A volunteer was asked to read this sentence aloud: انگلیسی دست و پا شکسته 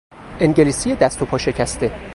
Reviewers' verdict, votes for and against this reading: rejected, 0, 2